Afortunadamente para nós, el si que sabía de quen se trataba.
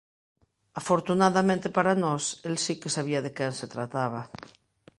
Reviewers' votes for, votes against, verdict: 2, 0, accepted